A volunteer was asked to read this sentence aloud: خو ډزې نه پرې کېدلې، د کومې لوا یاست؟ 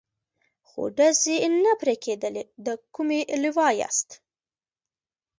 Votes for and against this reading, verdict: 2, 0, accepted